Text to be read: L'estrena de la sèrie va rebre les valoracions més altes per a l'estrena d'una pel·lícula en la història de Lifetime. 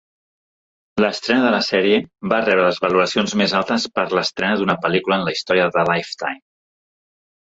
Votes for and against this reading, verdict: 2, 0, accepted